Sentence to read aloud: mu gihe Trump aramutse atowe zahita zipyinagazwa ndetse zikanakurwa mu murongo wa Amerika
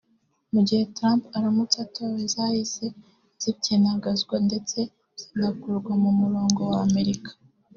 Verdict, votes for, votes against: rejected, 1, 2